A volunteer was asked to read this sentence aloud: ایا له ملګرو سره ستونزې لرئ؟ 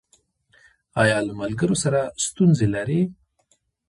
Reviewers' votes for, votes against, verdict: 1, 2, rejected